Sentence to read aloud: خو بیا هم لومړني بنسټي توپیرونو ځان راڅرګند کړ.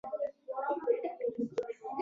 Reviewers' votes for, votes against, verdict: 0, 2, rejected